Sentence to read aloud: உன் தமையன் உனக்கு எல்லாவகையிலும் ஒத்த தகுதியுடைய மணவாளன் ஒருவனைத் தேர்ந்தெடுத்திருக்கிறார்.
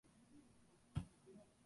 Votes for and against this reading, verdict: 1, 2, rejected